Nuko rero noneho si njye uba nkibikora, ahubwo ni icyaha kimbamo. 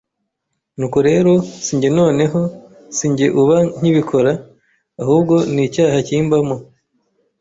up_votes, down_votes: 0, 2